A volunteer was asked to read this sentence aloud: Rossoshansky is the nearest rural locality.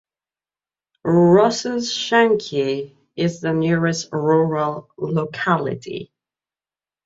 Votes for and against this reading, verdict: 1, 2, rejected